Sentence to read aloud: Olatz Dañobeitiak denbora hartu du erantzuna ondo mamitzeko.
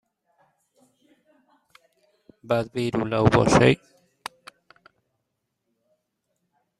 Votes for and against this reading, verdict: 0, 2, rejected